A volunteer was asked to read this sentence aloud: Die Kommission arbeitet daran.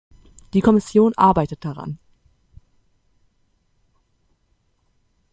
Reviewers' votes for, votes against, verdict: 2, 0, accepted